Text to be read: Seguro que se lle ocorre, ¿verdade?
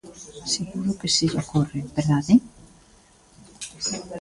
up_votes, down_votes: 2, 1